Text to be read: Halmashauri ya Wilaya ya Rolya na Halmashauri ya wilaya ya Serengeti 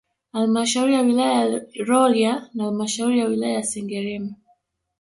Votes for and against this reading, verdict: 1, 2, rejected